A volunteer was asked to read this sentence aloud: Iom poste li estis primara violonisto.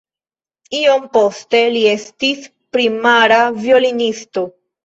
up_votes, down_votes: 2, 0